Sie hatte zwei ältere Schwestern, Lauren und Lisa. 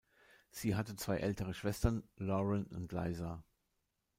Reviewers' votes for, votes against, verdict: 2, 1, accepted